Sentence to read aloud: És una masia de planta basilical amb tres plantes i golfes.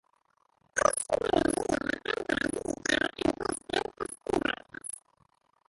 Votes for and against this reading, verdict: 0, 2, rejected